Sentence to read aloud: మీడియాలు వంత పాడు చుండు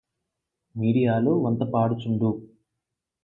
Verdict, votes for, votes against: rejected, 4, 4